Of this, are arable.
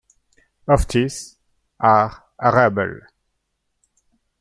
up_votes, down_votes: 2, 1